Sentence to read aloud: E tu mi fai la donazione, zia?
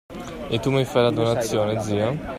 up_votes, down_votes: 2, 0